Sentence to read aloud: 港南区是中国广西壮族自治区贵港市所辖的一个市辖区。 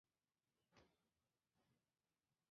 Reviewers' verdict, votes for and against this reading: rejected, 0, 2